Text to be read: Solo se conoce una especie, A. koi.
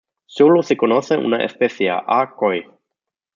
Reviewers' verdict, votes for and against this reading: accepted, 2, 0